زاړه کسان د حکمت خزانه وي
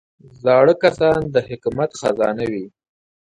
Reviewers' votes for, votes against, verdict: 2, 0, accepted